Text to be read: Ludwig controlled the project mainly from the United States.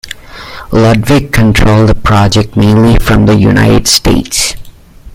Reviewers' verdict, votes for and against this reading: accepted, 2, 0